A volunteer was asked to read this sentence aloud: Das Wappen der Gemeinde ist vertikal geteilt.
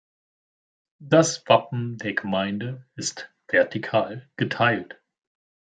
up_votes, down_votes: 2, 0